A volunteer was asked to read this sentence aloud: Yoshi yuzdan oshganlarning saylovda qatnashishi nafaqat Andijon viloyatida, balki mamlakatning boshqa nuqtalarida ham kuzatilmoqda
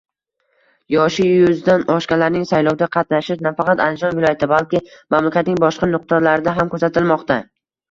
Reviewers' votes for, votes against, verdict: 2, 0, accepted